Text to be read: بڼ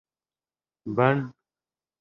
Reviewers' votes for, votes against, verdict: 2, 0, accepted